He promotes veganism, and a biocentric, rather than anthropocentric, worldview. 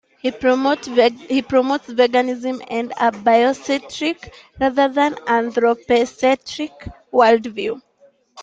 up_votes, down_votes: 2, 0